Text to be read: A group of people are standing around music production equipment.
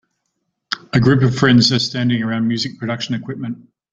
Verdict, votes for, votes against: rejected, 0, 2